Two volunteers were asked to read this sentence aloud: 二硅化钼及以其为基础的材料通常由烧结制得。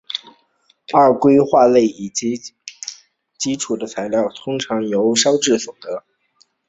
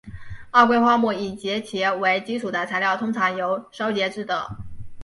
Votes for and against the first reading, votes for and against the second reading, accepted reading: 2, 2, 2, 0, second